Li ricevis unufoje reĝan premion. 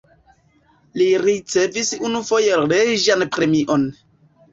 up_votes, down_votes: 1, 2